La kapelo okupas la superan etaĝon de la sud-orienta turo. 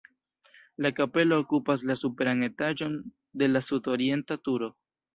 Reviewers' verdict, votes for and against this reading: rejected, 0, 2